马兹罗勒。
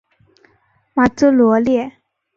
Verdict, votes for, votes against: rejected, 2, 4